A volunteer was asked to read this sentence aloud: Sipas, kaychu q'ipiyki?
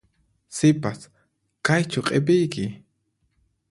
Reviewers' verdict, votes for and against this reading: accepted, 4, 0